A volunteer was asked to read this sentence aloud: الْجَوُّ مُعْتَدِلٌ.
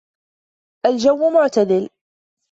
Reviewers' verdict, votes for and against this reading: accepted, 2, 0